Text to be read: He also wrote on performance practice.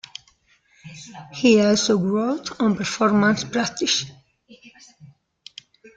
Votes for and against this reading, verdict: 0, 2, rejected